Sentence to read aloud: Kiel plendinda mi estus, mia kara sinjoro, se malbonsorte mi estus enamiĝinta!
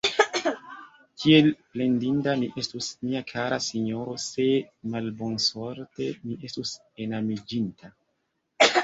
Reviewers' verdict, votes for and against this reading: rejected, 1, 2